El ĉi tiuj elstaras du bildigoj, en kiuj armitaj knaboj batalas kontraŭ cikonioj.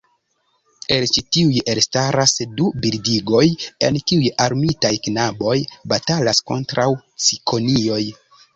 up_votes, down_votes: 0, 2